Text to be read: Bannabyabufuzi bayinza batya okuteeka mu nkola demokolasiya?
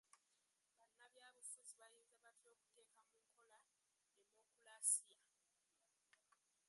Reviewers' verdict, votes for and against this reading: rejected, 0, 2